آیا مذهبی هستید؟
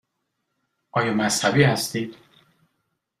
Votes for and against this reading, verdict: 2, 0, accepted